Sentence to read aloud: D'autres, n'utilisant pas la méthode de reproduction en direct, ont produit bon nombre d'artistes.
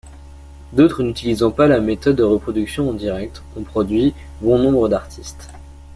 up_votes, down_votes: 2, 0